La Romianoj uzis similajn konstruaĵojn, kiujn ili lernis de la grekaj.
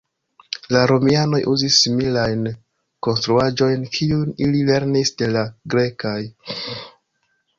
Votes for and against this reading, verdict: 2, 0, accepted